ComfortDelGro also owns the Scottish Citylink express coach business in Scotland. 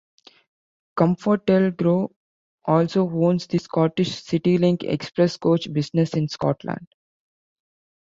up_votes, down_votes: 2, 0